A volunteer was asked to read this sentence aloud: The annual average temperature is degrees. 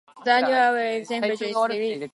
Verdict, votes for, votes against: rejected, 0, 2